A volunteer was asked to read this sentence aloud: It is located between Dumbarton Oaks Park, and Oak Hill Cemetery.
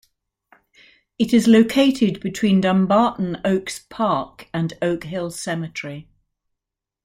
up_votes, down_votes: 2, 0